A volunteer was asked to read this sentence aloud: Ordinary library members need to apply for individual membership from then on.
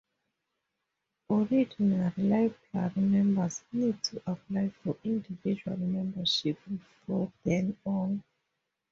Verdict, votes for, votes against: rejected, 0, 2